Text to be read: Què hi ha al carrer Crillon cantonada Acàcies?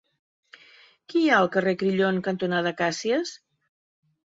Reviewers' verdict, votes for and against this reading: rejected, 1, 2